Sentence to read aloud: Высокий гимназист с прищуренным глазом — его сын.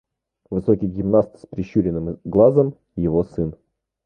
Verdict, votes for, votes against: rejected, 0, 2